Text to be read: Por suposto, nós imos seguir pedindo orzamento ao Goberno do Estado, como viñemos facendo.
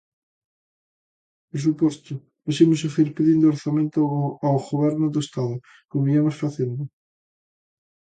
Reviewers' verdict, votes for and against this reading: rejected, 1, 2